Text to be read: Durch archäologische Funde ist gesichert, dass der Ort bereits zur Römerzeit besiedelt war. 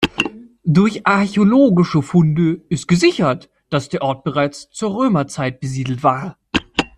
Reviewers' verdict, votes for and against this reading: accepted, 2, 0